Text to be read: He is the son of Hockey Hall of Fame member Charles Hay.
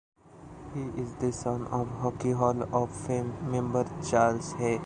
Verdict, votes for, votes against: rejected, 1, 2